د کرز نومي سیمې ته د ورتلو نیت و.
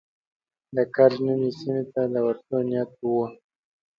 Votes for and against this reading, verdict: 1, 2, rejected